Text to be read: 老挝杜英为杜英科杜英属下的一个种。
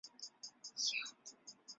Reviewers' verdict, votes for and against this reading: rejected, 0, 4